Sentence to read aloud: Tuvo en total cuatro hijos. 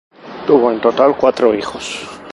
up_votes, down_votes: 2, 0